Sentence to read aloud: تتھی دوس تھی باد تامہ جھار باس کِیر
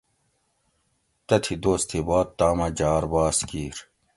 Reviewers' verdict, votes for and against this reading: accepted, 2, 0